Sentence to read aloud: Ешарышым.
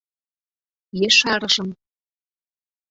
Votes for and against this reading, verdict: 2, 0, accepted